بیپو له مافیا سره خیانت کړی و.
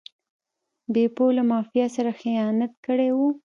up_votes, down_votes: 2, 0